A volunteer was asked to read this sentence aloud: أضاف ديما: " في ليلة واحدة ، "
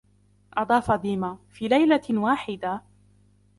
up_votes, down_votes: 2, 0